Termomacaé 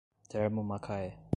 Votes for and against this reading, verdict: 2, 0, accepted